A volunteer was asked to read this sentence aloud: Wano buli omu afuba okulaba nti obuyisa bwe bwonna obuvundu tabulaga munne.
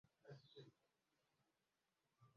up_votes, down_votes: 0, 2